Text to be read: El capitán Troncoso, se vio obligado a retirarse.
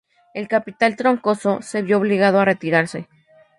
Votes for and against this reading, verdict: 0, 2, rejected